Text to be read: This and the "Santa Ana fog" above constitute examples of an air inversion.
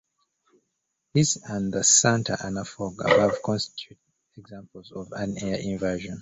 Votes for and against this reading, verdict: 2, 0, accepted